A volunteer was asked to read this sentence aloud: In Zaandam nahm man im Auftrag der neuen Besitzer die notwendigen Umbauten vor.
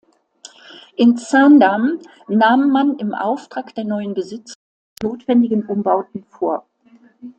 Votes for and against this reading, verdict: 0, 2, rejected